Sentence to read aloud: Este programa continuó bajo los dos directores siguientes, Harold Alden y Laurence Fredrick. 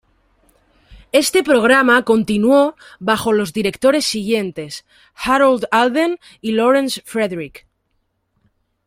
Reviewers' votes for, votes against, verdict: 1, 2, rejected